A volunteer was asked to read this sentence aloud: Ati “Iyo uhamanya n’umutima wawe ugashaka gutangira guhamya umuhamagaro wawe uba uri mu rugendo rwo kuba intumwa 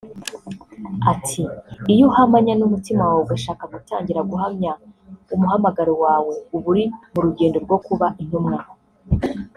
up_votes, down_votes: 1, 2